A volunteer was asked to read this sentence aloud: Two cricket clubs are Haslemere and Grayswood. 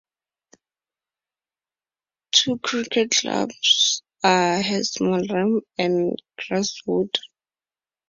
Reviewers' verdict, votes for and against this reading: rejected, 2, 2